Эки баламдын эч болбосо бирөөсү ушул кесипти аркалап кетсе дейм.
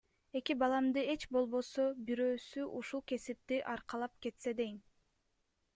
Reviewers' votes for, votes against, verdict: 1, 2, rejected